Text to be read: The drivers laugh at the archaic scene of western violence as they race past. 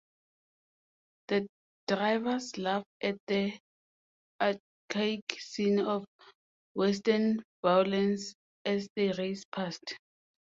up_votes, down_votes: 2, 7